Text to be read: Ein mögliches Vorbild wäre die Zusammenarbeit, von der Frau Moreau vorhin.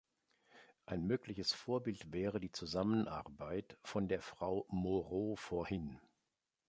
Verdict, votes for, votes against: accepted, 2, 0